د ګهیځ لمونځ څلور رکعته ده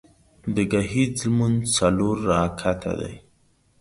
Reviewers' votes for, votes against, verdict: 2, 0, accepted